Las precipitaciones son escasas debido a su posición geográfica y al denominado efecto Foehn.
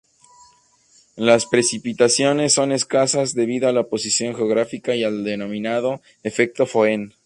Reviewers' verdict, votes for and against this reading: rejected, 0, 2